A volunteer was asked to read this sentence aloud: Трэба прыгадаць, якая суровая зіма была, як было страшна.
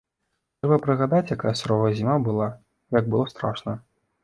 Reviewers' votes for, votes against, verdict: 1, 2, rejected